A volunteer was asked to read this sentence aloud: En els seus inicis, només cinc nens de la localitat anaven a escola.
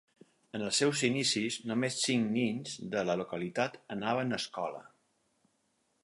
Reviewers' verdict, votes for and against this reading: rejected, 2, 4